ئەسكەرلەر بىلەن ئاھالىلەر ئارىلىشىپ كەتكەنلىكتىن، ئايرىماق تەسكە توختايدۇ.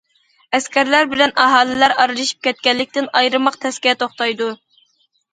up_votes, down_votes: 2, 0